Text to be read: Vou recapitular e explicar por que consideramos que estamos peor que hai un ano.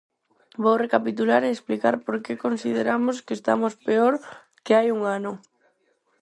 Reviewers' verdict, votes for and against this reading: accepted, 4, 0